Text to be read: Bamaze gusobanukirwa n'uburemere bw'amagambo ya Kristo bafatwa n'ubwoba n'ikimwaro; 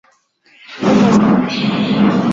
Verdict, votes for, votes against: rejected, 0, 2